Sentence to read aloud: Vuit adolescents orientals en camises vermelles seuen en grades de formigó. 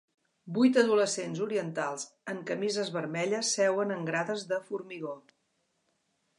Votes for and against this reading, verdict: 2, 0, accepted